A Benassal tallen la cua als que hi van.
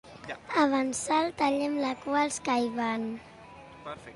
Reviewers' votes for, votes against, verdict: 1, 2, rejected